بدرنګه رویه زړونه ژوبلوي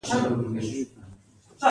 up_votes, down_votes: 1, 2